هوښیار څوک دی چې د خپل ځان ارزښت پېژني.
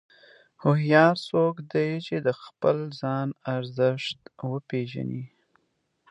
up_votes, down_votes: 2, 1